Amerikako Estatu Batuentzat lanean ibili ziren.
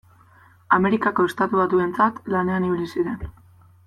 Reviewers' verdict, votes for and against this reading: accepted, 2, 0